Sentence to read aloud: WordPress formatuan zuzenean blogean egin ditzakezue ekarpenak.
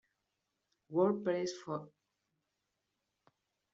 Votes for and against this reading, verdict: 0, 2, rejected